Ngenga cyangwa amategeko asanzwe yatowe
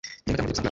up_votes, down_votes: 0, 2